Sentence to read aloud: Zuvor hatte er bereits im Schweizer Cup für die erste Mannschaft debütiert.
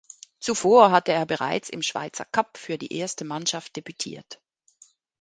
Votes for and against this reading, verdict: 2, 0, accepted